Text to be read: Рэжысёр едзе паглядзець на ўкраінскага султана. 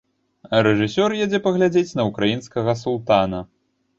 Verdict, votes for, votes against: rejected, 0, 2